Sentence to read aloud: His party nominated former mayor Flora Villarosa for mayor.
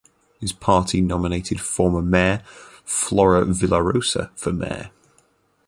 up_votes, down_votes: 2, 2